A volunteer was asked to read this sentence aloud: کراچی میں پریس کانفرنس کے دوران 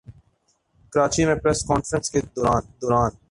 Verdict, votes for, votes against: rejected, 0, 2